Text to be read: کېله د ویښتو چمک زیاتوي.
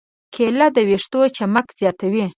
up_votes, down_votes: 5, 0